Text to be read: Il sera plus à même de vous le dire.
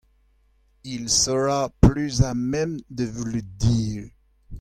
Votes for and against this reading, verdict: 1, 2, rejected